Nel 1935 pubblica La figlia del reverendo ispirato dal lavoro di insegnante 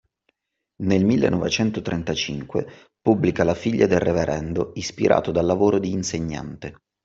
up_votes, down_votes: 0, 2